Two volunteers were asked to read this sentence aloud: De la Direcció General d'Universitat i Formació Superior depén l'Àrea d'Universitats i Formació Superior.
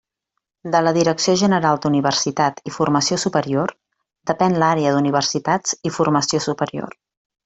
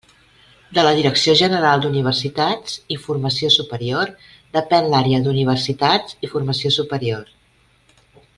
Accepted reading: first